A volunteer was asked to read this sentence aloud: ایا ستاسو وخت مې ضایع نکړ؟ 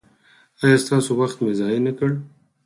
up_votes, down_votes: 2, 4